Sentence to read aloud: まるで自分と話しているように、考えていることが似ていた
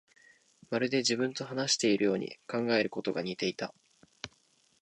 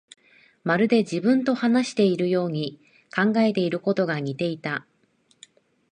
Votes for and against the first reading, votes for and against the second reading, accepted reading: 2, 3, 2, 0, second